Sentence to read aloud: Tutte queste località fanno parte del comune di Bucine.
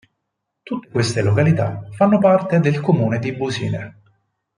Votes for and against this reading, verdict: 0, 4, rejected